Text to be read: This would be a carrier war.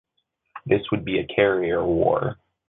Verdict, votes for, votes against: accepted, 2, 0